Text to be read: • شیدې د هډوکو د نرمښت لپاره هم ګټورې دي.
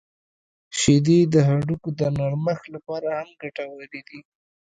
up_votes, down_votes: 1, 2